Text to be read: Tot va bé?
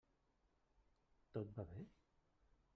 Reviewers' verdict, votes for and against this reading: rejected, 1, 2